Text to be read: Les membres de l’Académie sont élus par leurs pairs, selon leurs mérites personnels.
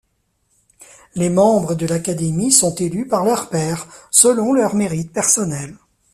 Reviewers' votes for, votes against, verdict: 2, 0, accepted